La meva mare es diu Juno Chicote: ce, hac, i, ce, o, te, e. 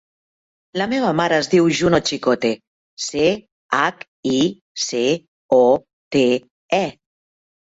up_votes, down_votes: 2, 0